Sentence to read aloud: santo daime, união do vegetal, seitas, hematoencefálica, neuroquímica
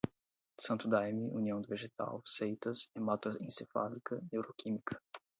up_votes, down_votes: 8, 0